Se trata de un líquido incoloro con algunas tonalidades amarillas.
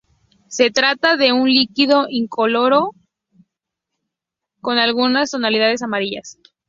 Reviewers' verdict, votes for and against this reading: accepted, 2, 0